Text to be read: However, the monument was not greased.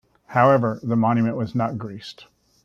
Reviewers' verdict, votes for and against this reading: accepted, 2, 0